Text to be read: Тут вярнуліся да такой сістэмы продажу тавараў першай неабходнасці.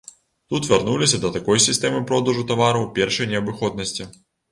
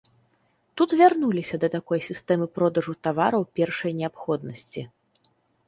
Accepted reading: second